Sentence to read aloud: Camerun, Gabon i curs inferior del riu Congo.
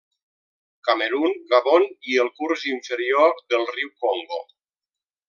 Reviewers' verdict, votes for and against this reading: rejected, 0, 2